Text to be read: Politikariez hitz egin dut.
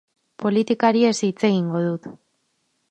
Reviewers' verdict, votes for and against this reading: rejected, 2, 4